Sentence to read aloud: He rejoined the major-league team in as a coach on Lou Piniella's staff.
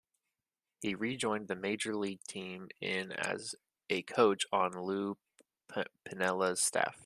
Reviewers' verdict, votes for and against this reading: rejected, 0, 2